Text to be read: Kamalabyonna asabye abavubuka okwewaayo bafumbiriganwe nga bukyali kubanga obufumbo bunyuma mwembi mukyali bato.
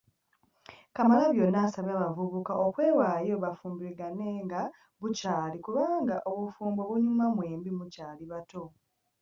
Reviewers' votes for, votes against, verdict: 0, 2, rejected